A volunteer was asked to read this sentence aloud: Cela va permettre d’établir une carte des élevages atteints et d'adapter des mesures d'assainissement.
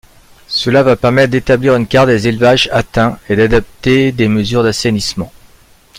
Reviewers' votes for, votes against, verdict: 0, 2, rejected